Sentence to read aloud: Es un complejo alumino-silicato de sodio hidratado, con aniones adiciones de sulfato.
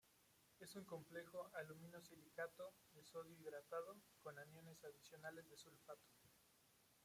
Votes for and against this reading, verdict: 1, 2, rejected